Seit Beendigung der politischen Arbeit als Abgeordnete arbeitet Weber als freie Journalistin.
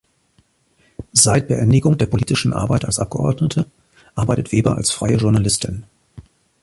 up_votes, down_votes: 2, 0